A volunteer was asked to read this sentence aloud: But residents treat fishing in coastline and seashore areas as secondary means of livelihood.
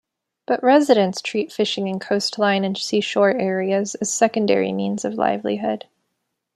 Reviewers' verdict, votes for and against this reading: accepted, 2, 0